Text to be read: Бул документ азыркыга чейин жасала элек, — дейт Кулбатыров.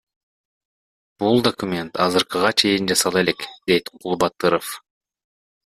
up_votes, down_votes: 2, 0